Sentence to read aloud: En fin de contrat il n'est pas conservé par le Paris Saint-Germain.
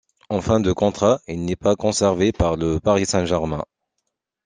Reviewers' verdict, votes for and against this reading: accepted, 2, 0